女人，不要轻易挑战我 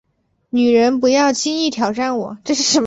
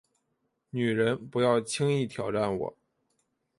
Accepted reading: first